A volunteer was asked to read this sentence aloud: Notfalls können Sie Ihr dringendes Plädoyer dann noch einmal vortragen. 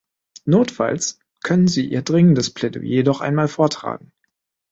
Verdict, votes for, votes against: rejected, 1, 3